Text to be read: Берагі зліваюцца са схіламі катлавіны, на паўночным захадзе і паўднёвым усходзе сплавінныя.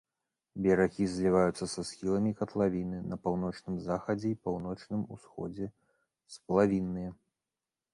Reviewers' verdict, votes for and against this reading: rejected, 0, 2